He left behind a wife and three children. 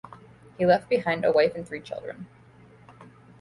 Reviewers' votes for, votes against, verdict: 2, 1, accepted